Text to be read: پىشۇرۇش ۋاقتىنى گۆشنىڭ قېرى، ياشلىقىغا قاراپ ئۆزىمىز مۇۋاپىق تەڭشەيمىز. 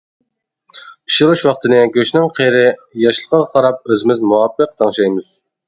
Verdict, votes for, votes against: accepted, 2, 0